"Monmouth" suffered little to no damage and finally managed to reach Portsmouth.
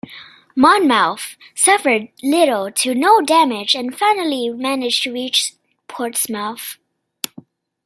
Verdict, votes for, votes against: rejected, 1, 2